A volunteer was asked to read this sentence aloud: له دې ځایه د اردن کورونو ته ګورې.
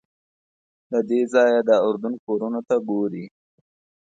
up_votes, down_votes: 0, 2